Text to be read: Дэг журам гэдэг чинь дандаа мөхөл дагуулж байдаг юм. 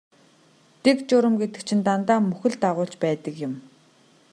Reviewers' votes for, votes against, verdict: 2, 0, accepted